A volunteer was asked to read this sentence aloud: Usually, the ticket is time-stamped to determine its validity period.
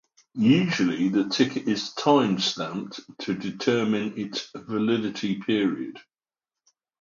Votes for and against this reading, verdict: 3, 0, accepted